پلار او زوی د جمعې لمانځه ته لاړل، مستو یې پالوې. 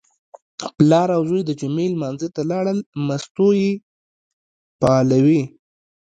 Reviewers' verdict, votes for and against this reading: rejected, 0, 2